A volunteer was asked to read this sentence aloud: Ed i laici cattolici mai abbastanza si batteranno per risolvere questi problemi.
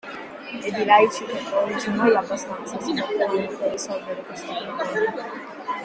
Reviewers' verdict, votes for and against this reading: rejected, 1, 2